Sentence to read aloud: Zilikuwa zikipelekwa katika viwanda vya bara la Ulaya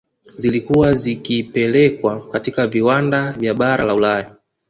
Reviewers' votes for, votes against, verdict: 2, 1, accepted